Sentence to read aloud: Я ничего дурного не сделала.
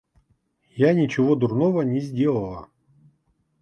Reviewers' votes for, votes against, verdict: 2, 0, accepted